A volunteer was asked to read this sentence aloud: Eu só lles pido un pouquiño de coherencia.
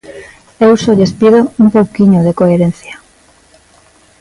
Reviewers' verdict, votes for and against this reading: accepted, 2, 0